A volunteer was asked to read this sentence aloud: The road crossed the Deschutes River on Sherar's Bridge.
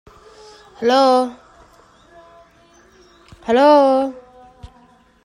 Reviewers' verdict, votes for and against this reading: rejected, 0, 2